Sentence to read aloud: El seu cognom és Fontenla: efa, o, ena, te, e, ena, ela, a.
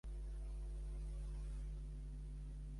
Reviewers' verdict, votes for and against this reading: rejected, 0, 2